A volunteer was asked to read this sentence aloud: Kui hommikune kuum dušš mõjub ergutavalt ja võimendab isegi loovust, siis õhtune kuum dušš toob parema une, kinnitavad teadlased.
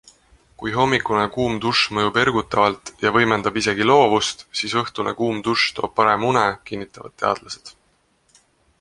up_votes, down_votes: 2, 0